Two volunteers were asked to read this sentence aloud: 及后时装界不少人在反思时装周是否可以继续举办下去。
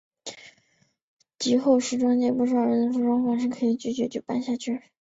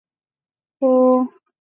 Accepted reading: first